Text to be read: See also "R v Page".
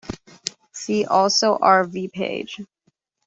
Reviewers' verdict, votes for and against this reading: accepted, 2, 0